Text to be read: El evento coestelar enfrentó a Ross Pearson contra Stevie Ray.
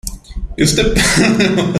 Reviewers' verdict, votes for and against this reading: rejected, 0, 2